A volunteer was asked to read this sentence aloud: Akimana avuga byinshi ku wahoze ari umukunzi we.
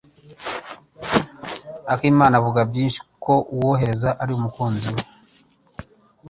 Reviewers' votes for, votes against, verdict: 2, 1, accepted